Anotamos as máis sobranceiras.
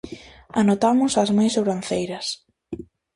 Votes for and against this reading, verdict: 2, 0, accepted